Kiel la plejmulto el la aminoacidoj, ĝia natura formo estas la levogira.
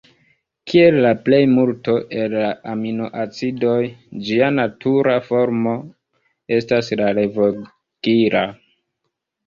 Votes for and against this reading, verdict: 2, 3, rejected